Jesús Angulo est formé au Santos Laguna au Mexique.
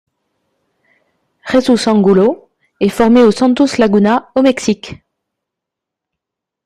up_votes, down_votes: 1, 2